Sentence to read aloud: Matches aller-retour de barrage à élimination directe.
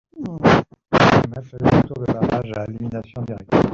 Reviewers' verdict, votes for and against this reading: rejected, 1, 2